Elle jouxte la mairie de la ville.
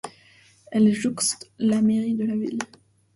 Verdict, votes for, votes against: rejected, 0, 2